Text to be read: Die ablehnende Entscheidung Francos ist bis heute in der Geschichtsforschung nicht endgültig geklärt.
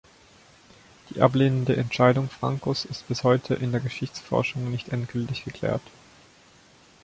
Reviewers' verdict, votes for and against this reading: rejected, 0, 2